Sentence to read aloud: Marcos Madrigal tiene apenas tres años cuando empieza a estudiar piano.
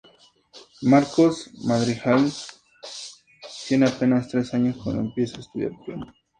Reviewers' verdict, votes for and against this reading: rejected, 2, 2